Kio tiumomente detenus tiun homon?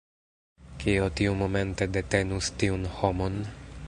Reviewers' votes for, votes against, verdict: 2, 0, accepted